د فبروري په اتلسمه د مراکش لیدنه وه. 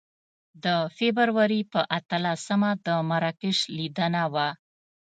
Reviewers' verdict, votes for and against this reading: accepted, 2, 0